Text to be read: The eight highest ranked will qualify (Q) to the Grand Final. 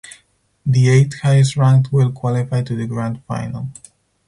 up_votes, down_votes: 0, 4